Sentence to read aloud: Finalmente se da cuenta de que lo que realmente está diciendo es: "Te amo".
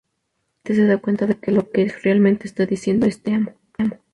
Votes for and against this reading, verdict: 0, 4, rejected